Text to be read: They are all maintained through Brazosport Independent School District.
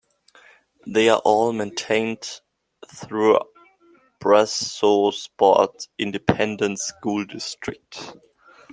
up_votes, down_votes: 2, 1